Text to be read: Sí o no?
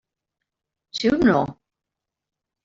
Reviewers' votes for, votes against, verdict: 2, 0, accepted